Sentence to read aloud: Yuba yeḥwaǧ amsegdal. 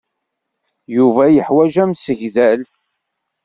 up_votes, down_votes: 2, 0